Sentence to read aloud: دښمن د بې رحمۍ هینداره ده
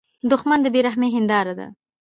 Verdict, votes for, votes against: accepted, 2, 0